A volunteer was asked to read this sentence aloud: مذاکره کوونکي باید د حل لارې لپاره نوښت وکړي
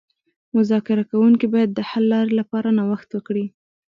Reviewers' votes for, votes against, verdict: 2, 0, accepted